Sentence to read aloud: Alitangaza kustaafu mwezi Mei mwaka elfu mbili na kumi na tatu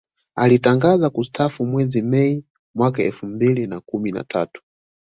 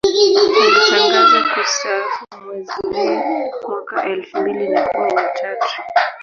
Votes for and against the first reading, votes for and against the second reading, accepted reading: 2, 0, 0, 2, first